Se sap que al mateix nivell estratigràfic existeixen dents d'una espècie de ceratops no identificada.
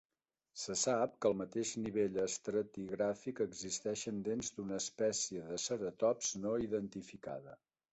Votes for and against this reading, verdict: 3, 0, accepted